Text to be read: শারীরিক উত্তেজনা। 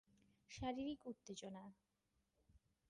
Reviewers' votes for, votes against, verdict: 6, 2, accepted